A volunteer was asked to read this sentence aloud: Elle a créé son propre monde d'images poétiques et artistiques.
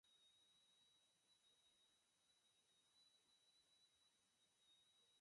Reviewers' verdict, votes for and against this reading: rejected, 0, 4